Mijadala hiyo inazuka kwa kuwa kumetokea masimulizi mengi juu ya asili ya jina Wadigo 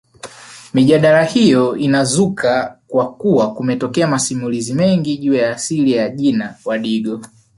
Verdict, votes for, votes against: rejected, 1, 2